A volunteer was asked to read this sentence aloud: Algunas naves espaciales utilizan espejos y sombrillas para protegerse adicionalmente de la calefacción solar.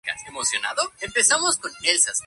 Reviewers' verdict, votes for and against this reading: rejected, 0, 2